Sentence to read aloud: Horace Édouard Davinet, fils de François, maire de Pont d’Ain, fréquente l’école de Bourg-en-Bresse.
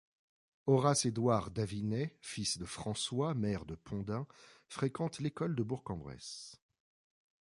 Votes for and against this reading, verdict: 1, 2, rejected